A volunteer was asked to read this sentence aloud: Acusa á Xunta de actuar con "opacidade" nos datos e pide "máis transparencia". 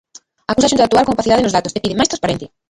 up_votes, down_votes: 0, 2